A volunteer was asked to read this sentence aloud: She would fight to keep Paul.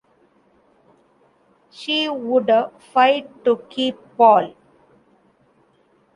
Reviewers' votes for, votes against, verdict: 2, 0, accepted